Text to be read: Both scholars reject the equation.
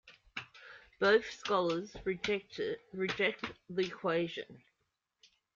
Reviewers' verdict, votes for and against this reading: rejected, 1, 2